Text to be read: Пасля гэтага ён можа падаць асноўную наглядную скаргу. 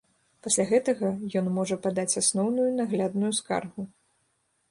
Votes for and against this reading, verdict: 1, 2, rejected